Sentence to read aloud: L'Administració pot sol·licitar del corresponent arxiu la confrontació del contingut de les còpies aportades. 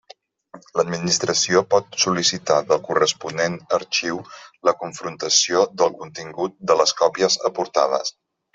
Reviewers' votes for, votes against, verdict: 3, 0, accepted